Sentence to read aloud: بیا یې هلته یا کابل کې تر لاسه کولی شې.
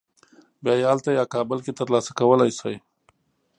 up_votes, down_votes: 2, 0